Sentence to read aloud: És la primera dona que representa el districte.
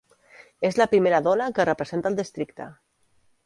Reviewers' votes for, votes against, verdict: 2, 0, accepted